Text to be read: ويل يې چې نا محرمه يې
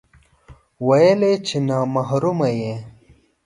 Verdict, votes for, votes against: rejected, 0, 2